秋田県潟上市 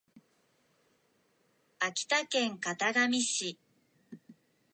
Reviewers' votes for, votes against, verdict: 2, 0, accepted